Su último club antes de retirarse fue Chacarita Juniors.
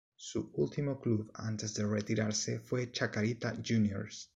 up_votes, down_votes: 1, 2